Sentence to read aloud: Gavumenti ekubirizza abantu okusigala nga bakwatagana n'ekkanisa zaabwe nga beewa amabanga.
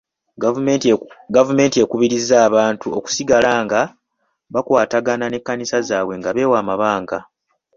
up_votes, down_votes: 2, 0